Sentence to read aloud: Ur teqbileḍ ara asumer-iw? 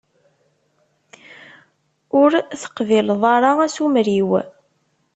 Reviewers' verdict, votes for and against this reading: accepted, 2, 1